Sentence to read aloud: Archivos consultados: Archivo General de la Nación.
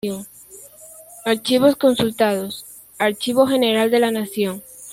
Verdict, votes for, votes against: rejected, 0, 2